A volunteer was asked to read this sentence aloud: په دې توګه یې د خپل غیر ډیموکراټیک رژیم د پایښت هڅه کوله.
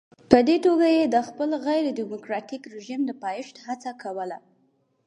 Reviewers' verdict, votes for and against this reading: accepted, 4, 0